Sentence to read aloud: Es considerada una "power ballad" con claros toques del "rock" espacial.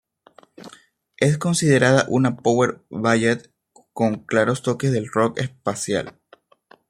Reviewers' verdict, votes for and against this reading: rejected, 0, 2